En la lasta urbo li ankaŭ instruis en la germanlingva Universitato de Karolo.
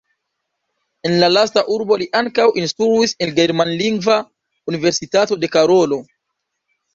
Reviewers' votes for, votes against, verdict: 1, 2, rejected